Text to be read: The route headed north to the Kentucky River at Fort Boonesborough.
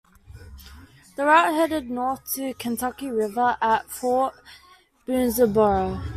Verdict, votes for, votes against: accepted, 2, 0